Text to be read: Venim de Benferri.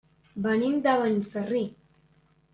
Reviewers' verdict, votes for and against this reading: rejected, 0, 2